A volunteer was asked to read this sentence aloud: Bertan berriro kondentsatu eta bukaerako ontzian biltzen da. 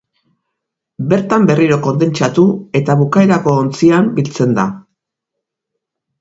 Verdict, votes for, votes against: accepted, 8, 0